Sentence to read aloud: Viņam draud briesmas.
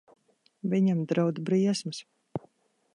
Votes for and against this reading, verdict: 2, 0, accepted